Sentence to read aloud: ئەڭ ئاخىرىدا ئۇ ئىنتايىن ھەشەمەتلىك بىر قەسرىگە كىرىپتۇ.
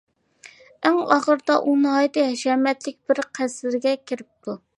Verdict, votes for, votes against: rejected, 1, 2